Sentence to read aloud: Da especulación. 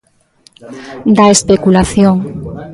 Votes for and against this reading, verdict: 0, 2, rejected